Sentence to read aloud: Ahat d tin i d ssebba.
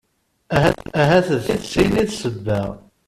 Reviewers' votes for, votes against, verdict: 1, 2, rejected